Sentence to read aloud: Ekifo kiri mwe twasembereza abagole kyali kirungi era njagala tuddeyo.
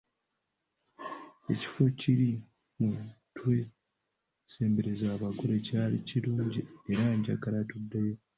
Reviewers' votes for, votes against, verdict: 0, 2, rejected